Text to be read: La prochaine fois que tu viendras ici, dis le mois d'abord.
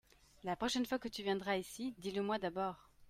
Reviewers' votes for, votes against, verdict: 2, 0, accepted